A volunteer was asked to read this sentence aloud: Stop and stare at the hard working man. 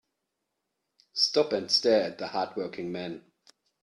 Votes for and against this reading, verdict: 2, 0, accepted